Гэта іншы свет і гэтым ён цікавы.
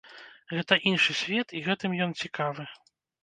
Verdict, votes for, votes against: accepted, 2, 0